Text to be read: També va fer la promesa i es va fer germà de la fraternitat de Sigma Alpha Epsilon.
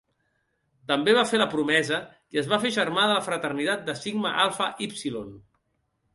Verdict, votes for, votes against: rejected, 1, 2